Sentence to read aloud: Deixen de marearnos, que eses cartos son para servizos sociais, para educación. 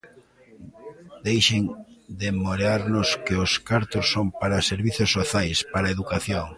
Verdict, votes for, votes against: rejected, 0, 3